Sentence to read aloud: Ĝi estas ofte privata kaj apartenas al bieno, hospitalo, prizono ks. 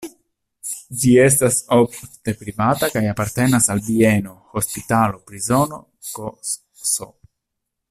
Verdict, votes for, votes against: rejected, 0, 2